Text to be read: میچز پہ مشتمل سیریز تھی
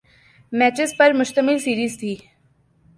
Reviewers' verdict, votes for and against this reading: rejected, 0, 2